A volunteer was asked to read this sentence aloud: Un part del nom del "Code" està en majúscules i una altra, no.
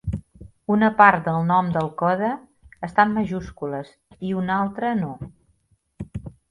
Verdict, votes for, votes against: rejected, 0, 2